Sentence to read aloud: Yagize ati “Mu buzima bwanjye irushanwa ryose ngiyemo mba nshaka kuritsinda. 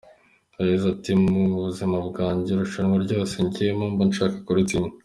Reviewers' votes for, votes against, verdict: 3, 0, accepted